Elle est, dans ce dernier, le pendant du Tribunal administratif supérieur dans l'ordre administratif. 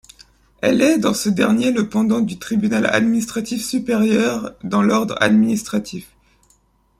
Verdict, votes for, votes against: rejected, 0, 2